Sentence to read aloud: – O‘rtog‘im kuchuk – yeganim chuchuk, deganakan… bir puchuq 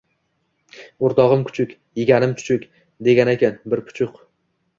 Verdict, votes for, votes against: accepted, 2, 0